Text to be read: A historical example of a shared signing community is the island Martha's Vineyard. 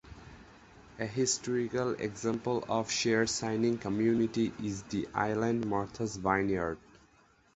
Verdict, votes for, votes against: rejected, 2, 2